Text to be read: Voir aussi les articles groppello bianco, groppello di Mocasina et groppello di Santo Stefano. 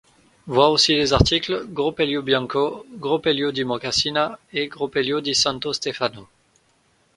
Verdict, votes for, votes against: rejected, 0, 2